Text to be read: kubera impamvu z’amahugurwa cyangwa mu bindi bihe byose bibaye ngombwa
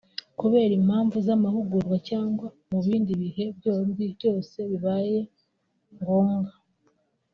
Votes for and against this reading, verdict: 1, 3, rejected